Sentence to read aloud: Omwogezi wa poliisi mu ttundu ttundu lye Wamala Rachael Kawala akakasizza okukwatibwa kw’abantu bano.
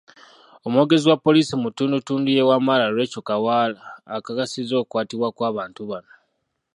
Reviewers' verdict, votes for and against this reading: rejected, 1, 2